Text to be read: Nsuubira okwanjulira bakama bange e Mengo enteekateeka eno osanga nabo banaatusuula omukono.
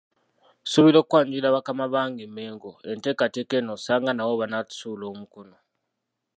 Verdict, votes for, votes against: rejected, 1, 2